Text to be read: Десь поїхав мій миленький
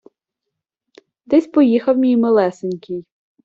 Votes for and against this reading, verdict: 0, 2, rejected